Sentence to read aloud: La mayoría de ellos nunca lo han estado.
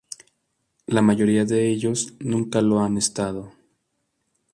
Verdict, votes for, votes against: accepted, 2, 0